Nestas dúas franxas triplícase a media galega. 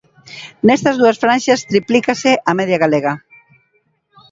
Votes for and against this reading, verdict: 2, 0, accepted